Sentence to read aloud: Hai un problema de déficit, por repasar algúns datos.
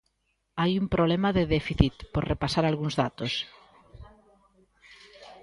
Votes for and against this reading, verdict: 2, 0, accepted